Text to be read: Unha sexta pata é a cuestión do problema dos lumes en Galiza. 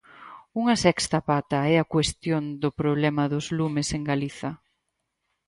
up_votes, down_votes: 4, 0